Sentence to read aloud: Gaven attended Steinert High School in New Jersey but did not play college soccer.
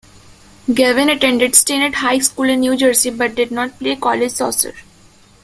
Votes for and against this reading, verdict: 0, 2, rejected